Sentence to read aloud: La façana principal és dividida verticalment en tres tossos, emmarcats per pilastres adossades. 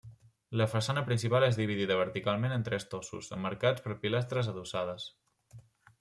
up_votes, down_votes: 3, 0